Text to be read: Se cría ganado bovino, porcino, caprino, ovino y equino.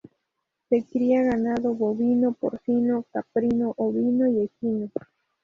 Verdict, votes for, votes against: rejected, 0, 2